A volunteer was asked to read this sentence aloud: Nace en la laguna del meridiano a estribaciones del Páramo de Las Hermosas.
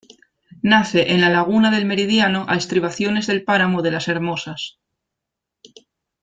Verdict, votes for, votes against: accepted, 2, 0